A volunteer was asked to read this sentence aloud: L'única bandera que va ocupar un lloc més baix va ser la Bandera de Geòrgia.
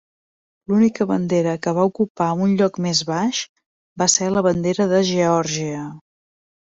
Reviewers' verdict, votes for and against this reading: accepted, 3, 0